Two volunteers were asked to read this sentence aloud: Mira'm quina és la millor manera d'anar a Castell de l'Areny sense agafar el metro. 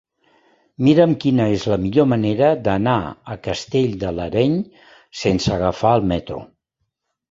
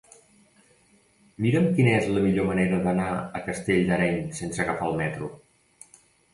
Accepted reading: first